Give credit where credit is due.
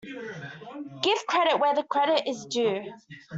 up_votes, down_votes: 1, 2